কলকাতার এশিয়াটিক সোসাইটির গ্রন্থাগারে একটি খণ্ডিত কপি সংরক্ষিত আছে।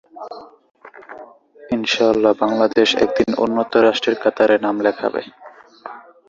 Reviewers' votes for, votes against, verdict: 1, 2, rejected